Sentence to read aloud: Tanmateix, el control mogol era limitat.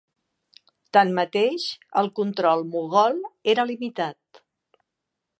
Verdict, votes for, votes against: accepted, 2, 0